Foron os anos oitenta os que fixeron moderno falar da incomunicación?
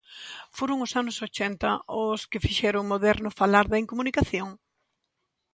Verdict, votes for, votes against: rejected, 1, 2